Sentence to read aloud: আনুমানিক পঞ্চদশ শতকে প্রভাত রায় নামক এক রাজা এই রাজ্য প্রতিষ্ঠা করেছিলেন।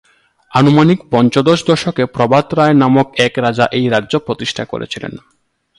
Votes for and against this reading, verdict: 1, 2, rejected